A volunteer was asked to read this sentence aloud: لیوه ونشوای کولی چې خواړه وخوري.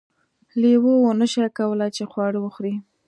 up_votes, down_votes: 2, 0